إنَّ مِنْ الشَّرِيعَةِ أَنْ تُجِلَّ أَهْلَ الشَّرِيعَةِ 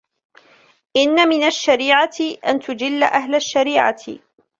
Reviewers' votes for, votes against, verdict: 2, 1, accepted